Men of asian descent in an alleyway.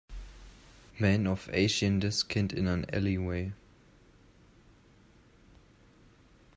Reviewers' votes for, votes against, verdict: 0, 2, rejected